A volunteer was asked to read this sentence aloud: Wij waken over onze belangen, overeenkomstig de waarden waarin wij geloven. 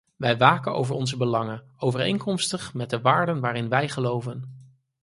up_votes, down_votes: 2, 4